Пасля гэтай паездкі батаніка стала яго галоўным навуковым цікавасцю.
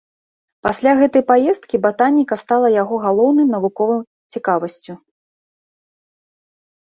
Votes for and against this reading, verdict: 2, 0, accepted